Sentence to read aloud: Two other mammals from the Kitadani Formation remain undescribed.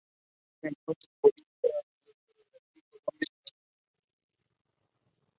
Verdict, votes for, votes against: rejected, 0, 2